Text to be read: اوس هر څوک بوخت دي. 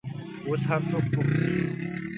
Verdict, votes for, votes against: rejected, 0, 2